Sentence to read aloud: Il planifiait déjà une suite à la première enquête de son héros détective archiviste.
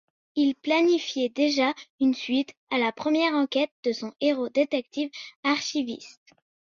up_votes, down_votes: 2, 0